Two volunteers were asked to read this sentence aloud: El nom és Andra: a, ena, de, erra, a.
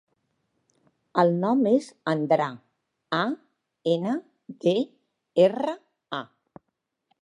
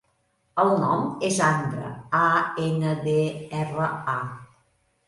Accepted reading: second